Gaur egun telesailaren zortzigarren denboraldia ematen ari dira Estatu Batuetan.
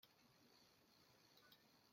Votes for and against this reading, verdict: 0, 2, rejected